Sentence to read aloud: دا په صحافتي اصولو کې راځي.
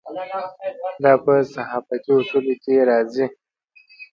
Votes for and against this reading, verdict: 2, 0, accepted